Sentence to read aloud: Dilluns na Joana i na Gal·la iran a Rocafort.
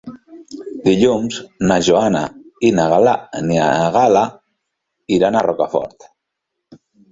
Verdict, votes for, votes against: rejected, 0, 2